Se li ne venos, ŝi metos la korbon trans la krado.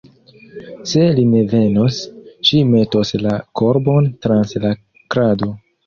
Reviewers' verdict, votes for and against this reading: accepted, 2, 0